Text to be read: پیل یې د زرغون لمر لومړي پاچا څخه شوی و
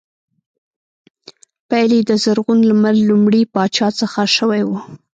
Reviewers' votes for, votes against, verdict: 2, 0, accepted